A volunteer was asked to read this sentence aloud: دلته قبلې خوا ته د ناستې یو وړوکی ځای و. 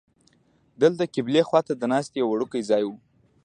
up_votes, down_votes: 1, 2